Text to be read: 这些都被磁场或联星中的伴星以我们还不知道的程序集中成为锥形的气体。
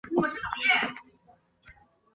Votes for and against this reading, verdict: 1, 3, rejected